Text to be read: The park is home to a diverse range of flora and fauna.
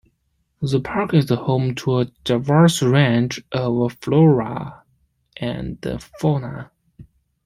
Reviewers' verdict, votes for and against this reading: rejected, 1, 2